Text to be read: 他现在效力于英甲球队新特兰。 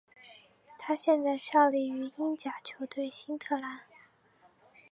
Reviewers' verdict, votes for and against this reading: accepted, 4, 1